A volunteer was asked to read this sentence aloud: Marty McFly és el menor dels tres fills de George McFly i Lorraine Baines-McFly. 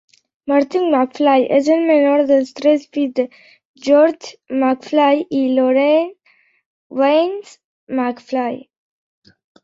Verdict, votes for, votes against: rejected, 1, 2